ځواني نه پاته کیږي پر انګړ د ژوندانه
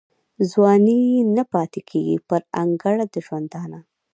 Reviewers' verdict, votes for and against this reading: rejected, 1, 2